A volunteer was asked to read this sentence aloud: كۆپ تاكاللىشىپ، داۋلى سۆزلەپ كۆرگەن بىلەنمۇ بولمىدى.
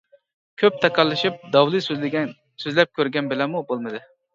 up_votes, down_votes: 1, 2